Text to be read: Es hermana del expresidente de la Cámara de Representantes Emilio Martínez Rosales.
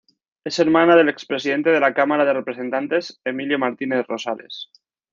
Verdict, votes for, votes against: accepted, 2, 0